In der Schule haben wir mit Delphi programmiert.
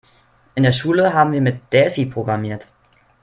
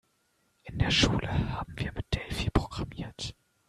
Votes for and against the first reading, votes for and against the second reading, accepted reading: 3, 0, 1, 2, first